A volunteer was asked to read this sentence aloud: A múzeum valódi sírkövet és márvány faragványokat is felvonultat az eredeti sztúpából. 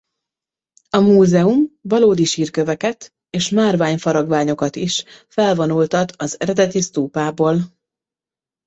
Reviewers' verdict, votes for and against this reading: rejected, 0, 2